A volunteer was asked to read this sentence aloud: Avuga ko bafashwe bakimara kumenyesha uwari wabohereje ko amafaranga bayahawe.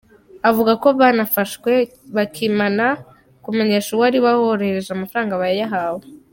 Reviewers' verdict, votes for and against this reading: accepted, 2, 1